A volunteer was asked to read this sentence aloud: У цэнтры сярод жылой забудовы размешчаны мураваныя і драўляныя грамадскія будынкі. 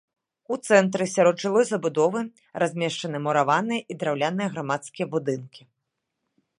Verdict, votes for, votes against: accepted, 2, 0